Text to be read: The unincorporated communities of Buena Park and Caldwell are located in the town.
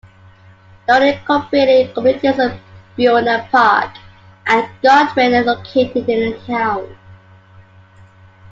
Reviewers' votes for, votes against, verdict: 0, 2, rejected